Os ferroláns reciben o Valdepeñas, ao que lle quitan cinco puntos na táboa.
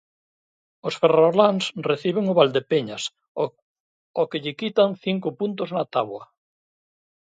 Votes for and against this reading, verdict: 0, 2, rejected